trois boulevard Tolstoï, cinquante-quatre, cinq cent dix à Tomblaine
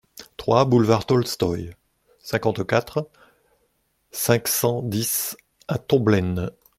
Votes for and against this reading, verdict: 2, 0, accepted